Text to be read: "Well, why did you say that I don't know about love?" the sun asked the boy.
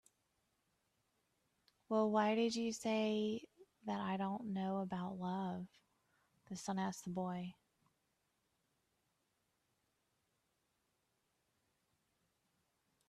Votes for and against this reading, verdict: 4, 1, accepted